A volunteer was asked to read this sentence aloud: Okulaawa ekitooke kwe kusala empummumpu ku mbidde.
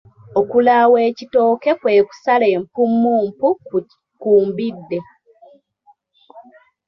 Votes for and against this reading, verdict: 1, 2, rejected